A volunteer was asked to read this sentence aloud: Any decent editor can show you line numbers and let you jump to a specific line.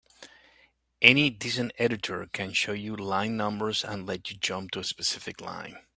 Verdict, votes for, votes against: accepted, 2, 0